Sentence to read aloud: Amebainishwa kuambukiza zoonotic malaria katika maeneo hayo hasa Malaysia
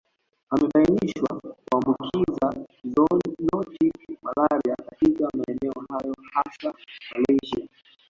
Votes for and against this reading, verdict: 2, 0, accepted